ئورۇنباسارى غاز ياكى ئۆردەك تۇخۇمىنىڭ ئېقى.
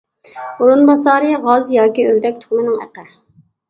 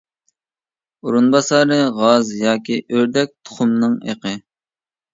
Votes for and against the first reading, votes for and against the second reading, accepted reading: 1, 2, 2, 0, second